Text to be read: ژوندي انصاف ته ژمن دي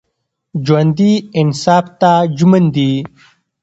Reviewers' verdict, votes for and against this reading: accepted, 2, 1